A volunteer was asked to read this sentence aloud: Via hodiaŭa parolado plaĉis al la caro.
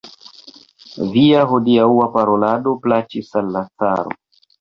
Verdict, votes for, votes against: accepted, 2, 0